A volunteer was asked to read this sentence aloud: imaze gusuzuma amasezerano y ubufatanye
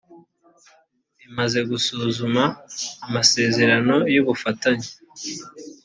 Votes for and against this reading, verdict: 2, 0, accepted